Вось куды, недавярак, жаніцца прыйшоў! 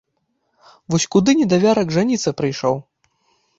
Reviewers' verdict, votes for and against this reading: accepted, 2, 0